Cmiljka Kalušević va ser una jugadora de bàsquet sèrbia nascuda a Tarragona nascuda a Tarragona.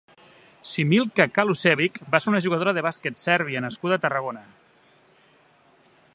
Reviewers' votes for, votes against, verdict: 1, 2, rejected